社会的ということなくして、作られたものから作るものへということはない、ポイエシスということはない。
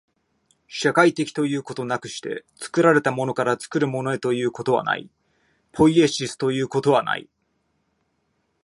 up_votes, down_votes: 2, 0